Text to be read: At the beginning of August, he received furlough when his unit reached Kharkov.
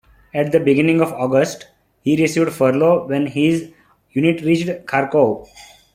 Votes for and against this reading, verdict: 2, 0, accepted